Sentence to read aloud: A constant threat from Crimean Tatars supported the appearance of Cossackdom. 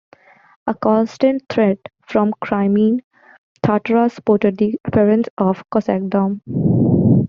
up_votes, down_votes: 1, 3